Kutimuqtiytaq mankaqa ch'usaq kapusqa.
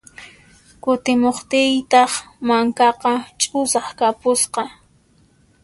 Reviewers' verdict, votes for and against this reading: accepted, 2, 0